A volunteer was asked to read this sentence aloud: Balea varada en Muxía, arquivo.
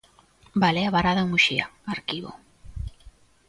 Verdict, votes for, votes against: accepted, 2, 0